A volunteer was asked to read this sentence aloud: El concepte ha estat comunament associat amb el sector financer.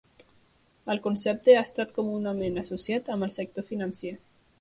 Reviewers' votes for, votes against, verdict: 1, 2, rejected